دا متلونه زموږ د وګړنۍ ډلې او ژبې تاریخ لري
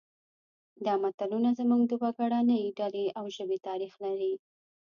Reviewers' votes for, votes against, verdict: 2, 0, accepted